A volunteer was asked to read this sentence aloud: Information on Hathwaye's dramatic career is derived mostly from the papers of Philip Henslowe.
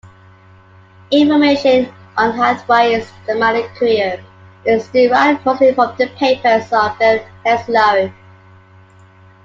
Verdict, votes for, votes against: rejected, 1, 2